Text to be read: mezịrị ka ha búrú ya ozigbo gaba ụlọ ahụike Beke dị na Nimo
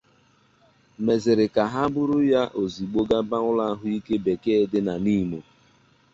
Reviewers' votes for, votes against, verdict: 2, 0, accepted